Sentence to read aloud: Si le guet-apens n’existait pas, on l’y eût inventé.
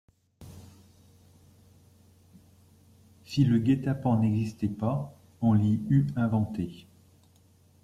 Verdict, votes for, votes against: rejected, 1, 2